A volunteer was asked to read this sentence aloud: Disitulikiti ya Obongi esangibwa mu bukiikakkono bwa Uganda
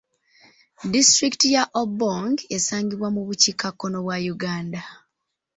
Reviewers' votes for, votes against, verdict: 1, 2, rejected